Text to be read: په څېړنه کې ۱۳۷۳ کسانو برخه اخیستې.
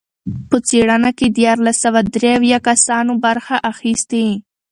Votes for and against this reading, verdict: 0, 2, rejected